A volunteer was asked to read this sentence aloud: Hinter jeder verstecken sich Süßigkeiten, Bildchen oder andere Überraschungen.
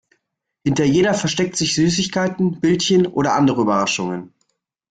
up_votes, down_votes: 0, 2